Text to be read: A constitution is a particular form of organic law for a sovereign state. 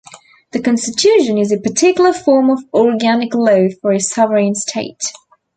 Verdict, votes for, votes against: accepted, 2, 0